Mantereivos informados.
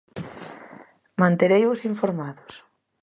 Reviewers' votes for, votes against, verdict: 2, 0, accepted